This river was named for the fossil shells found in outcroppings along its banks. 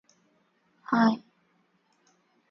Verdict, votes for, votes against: rejected, 0, 2